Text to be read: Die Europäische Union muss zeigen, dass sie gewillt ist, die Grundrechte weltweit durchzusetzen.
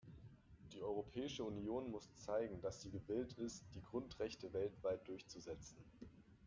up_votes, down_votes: 2, 0